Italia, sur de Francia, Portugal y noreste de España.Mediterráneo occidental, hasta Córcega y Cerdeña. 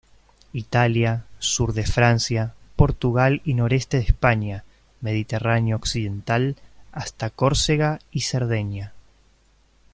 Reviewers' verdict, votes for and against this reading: accepted, 2, 0